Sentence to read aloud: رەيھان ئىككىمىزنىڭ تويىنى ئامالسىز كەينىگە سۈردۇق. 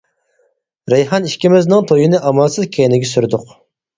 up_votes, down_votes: 4, 0